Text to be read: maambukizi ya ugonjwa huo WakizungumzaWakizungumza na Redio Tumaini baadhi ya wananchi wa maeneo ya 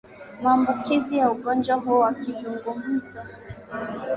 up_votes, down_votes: 2, 1